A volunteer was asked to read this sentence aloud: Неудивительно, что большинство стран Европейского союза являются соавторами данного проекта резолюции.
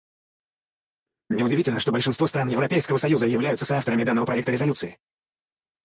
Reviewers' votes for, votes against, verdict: 2, 4, rejected